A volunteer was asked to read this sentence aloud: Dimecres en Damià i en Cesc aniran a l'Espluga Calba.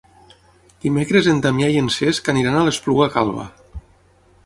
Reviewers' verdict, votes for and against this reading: accepted, 9, 0